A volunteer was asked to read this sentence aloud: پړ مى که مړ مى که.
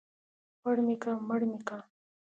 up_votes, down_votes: 2, 0